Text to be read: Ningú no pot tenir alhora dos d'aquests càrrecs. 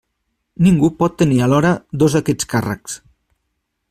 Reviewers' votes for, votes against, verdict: 1, 2, rejected